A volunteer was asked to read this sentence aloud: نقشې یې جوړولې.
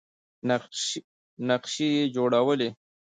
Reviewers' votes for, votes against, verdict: 1, 2, rejected